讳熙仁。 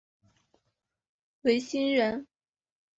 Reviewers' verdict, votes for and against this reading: accepted, 2, 0